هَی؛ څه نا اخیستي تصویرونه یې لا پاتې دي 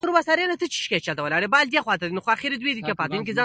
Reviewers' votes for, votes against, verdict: 0, 2, rejected